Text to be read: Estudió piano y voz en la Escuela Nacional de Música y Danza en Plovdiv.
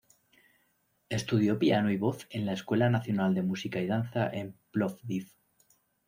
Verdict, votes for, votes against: rejected, 1, 2